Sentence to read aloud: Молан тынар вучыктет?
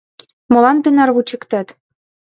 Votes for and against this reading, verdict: 0, 2, rejected